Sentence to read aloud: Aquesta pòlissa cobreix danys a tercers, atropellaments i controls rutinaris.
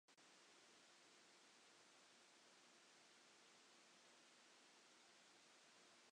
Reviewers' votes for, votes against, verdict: 1, 2, rejected